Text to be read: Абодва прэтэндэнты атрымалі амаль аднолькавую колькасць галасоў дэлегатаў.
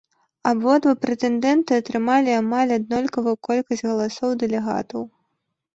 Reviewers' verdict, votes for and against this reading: accepted, 2, 0